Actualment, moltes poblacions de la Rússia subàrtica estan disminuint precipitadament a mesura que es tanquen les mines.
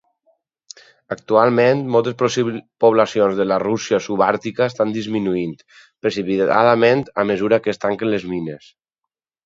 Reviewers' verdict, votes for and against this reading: rejected, 0, 4